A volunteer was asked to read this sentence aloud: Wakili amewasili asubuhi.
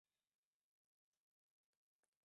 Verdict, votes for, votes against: rejected, 0, 2